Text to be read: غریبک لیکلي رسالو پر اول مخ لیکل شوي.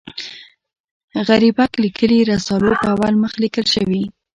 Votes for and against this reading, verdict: 2, 0, accepted